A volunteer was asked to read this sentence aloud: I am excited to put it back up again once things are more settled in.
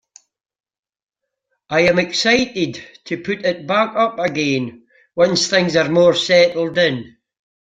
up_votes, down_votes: 2, 0